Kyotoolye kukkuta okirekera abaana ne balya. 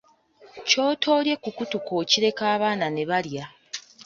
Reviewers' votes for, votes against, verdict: 0, 2, rejected